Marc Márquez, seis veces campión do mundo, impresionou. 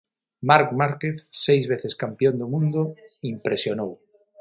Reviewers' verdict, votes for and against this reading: rejected, 3, 3